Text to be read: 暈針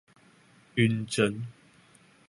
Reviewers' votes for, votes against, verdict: 2, 0, accepted